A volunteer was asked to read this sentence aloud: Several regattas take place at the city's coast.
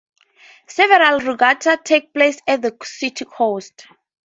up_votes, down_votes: 0, 2